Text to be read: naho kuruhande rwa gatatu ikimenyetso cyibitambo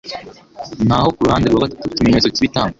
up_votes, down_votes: 2, 1